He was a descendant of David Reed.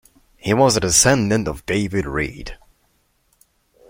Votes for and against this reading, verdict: 2, 0, accepted